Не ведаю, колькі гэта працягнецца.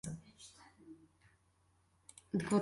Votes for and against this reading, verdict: 0, 2, rejected